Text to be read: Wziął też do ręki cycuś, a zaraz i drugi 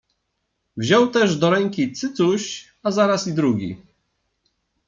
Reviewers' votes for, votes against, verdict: 2, 0, accepted